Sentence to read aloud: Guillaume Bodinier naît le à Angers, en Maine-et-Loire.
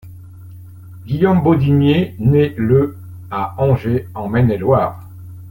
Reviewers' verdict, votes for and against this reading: accepted, 2, 0